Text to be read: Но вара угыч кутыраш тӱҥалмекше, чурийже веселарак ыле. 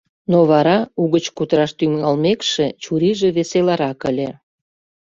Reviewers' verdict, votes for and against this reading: accepted, 2, 0